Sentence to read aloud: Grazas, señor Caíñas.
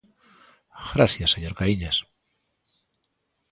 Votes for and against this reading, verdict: 1, 2, rejected